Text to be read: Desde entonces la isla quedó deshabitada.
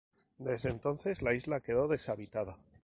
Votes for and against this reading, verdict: 2, 0, accepted